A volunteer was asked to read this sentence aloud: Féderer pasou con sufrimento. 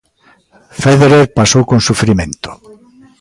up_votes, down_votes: 2, 0